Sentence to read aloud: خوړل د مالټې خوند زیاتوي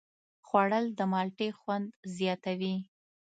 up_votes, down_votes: 2, 0